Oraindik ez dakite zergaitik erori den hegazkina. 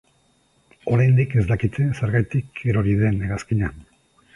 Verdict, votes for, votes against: accepted, 3, 0